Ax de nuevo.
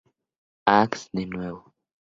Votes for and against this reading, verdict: 2, 0, accepted